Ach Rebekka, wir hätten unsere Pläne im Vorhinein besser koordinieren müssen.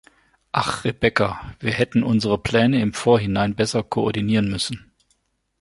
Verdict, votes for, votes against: accepted, 2, 0